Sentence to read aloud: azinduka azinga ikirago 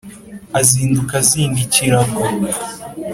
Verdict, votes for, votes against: accepted, 2, 0